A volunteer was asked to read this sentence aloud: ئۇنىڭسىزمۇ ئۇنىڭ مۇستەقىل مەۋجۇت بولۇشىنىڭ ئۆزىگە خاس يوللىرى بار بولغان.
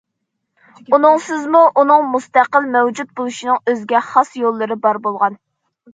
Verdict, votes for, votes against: accepted, 2, 0